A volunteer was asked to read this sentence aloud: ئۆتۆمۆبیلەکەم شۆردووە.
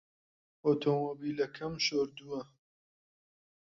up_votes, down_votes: 2, 0